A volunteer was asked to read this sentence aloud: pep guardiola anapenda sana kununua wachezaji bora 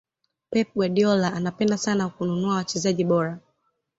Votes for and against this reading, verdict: 2, 0, accepted